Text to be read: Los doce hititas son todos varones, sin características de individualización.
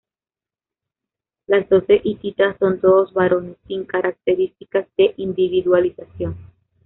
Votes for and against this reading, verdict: 0, 2, rejected